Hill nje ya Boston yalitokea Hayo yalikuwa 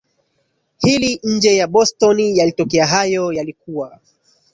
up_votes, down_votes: 1, 2